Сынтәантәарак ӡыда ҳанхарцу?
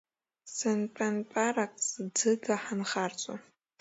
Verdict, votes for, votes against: rejected, 0, 2